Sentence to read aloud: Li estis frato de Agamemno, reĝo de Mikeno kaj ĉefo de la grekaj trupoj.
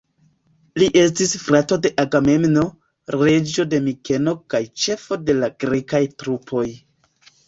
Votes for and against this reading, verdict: 1, 2, rejected